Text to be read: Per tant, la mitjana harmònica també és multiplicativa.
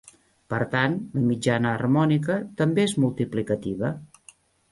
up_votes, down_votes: 0, 2